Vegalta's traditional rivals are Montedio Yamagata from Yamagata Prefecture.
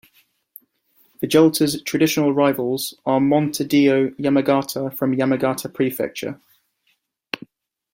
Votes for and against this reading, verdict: 2, 0, accepted